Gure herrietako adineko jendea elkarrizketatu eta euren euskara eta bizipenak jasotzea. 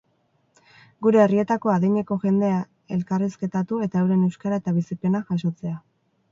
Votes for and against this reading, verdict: 2, 0, accepted